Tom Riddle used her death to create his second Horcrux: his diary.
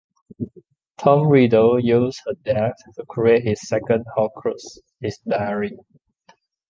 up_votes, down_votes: 1, 2